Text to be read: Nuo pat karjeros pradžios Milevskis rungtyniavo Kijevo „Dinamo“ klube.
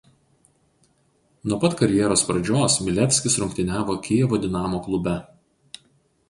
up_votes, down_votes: 2, 0